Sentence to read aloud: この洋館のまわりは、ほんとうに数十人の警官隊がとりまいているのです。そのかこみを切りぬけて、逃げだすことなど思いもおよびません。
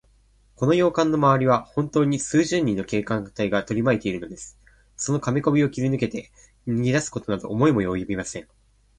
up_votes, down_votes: 1, 2